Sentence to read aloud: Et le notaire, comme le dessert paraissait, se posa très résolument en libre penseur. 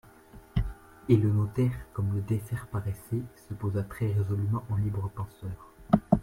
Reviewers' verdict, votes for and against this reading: rejected, 1, 2